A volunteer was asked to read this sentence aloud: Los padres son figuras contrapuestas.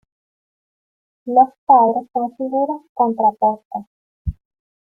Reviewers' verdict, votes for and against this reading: accepted, 2, 0